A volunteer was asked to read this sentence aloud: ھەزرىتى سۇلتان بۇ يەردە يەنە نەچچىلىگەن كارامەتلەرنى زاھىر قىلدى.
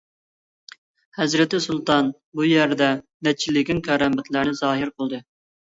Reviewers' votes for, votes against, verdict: 0, 2, rejected